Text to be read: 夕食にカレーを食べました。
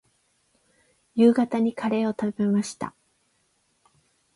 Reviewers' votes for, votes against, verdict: 0, 8, rejected